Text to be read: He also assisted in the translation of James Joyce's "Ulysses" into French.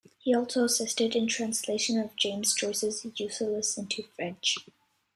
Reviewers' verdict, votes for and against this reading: accepted, 2, 1